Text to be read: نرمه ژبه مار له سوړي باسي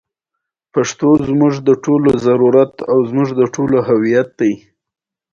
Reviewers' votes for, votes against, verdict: 1, 2, rejected